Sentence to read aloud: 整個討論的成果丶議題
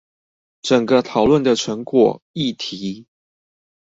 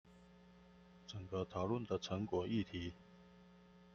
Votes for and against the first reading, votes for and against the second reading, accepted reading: 2, 2, 2, 0, second